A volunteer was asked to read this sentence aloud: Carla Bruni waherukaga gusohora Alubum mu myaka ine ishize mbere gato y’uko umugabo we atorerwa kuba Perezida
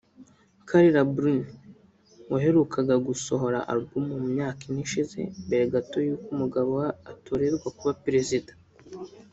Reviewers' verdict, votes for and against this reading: rejected, 1, 2